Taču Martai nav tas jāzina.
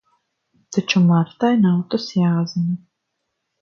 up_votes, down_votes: 4, 0